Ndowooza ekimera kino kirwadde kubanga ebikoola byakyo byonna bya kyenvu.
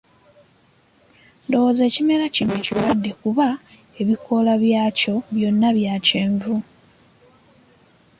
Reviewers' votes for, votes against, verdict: 0, 2, rejected